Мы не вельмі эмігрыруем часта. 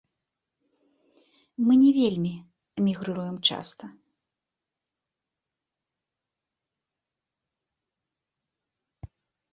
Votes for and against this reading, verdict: 2, 0, accepted